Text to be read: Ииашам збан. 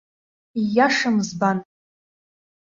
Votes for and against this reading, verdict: 2, 0, accepted